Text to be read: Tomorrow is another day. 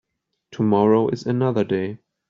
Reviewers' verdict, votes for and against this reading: accepted, 2, 0